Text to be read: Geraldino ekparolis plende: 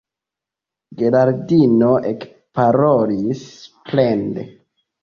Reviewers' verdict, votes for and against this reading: rejected, 0, 2